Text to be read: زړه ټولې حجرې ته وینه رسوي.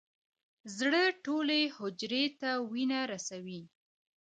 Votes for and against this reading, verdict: 1, 2, rejected